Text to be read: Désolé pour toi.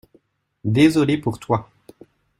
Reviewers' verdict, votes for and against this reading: accepted, 2, 0